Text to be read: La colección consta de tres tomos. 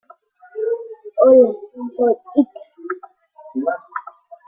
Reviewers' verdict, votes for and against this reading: rejected, 0, 3